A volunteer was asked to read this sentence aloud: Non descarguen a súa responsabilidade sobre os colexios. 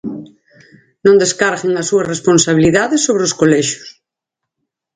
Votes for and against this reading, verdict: 6, 0, accepted